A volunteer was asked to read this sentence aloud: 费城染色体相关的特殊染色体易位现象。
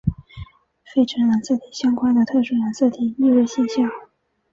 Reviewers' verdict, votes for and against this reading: rejected, 1, 2